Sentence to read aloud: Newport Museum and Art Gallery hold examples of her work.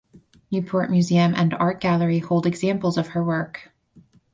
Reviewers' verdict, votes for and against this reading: accepted, 4, 0